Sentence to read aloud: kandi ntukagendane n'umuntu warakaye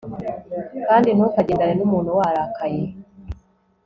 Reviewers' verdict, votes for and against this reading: accepted, 3, 0